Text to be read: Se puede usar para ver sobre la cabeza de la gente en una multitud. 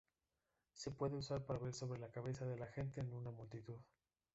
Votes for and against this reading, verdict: 2, 0, accepted